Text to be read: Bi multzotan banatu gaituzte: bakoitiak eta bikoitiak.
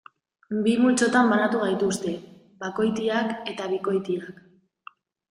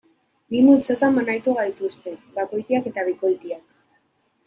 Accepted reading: first